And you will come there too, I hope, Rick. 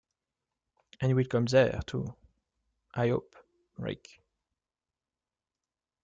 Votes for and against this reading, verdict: 1, 3, rejected